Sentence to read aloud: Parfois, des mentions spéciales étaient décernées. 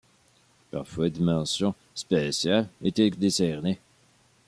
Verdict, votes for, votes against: accepted, 2, 1